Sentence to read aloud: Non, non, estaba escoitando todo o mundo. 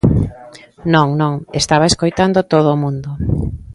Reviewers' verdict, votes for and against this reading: rejected, 0, 2